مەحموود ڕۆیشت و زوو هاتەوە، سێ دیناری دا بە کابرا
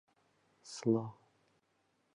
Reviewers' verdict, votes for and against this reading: rejected, 1, 2